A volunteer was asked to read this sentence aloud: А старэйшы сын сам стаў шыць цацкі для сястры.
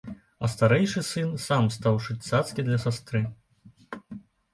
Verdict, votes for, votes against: rejected, 1, 2